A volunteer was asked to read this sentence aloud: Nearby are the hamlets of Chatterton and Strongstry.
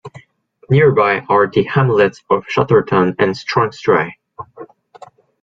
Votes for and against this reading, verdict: 2, 0, accepted